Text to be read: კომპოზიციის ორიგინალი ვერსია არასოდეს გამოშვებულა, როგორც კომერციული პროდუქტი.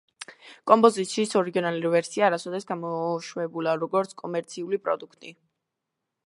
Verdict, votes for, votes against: rejected, 1, 2